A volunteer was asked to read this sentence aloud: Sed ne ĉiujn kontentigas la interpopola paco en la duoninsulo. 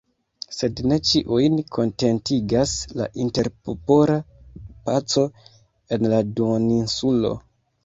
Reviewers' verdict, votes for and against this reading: rejected, 1, 2